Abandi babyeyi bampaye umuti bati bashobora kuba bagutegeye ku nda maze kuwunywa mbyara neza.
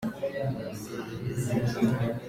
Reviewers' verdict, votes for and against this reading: rejected, 0, 3